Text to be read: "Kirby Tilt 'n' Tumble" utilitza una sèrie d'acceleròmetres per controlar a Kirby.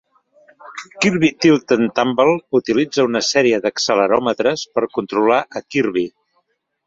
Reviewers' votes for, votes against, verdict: 2, 0, accepted